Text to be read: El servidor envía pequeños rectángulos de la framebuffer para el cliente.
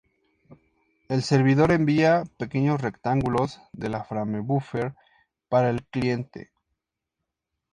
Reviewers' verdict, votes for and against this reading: accepted, 2, 0